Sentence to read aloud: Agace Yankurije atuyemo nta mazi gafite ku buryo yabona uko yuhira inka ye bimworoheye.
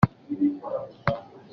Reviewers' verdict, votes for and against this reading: rejected, 0, 2